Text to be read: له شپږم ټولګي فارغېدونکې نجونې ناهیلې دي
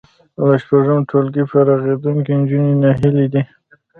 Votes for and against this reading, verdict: 2, 0, accepted